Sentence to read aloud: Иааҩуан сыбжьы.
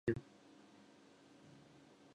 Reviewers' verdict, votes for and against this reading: rejected, 0, 2